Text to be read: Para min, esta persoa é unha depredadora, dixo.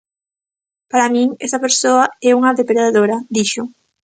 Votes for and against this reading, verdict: 1, 2, rejected